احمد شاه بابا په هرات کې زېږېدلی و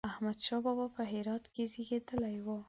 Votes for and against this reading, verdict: 10, 0, accepted